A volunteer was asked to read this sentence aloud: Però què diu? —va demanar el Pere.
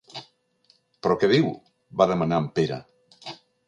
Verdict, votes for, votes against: rejected, 2, 3